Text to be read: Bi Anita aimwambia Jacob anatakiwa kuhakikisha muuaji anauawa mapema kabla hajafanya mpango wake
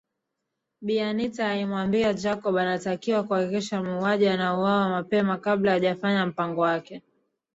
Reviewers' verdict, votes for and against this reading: rejected, 0, 2